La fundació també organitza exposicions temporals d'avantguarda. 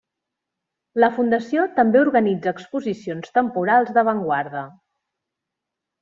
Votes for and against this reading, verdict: 3, 0, accepted